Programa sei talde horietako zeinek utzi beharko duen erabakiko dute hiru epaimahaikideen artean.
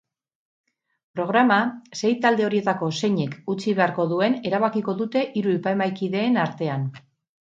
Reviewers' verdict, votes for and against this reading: rejected, 2, 2